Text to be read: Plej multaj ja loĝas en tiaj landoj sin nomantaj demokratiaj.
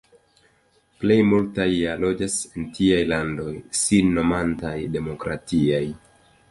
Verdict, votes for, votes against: accepted, 2, 1